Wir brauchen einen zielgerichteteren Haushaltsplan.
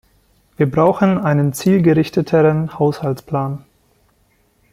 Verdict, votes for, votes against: accepted, 2, 0